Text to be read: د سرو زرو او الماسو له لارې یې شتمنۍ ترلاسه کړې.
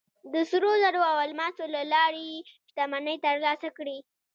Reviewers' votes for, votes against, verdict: 1, 2, rejected